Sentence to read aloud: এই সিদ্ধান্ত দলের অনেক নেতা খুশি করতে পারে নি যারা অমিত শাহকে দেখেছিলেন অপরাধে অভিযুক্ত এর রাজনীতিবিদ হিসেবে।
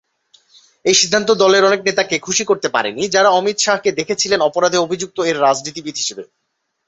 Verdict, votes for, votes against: rejected, 0, 2